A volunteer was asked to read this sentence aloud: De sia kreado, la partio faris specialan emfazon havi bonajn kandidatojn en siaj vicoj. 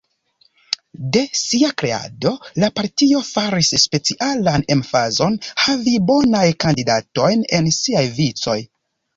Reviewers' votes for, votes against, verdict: 0, 2, rejected